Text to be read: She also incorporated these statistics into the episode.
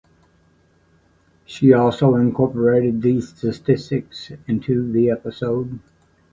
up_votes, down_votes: 2, 0